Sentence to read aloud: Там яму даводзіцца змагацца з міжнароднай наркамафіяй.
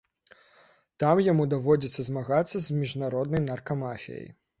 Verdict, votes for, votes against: accepted, 2, 0